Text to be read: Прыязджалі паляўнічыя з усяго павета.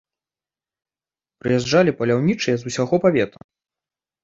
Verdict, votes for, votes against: accepted, 2, 0